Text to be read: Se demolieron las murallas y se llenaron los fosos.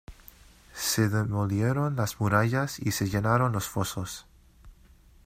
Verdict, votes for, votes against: accepted, 2, 0